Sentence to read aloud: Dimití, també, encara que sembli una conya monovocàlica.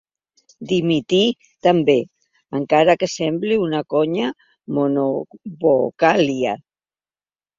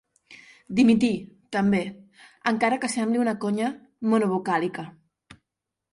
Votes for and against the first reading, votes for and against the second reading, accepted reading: 0, 2, 6, 0, second